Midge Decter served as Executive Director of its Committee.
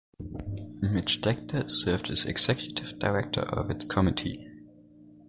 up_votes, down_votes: 2, 0